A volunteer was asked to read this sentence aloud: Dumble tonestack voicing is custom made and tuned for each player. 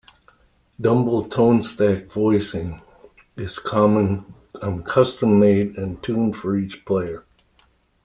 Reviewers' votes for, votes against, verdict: 0, 2, rejected